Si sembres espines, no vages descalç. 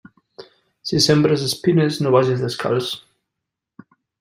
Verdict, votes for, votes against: accepted, 2, 0